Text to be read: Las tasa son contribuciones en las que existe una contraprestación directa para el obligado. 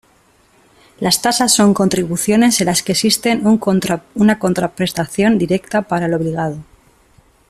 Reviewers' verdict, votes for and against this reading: rejected, 1, 2